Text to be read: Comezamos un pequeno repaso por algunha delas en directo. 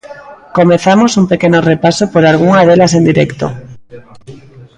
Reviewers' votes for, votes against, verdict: 1, 2, rejected